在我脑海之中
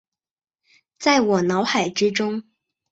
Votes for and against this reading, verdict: 4, 0, accepted